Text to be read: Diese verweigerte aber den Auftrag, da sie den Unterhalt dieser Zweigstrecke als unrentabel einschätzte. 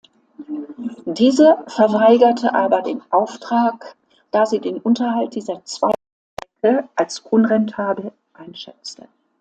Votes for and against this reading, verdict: 0, 2, rejected